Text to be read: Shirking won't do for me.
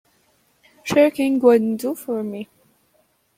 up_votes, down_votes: 1, 2